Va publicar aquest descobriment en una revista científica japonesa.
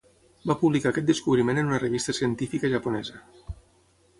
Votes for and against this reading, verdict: 6, 0, accepted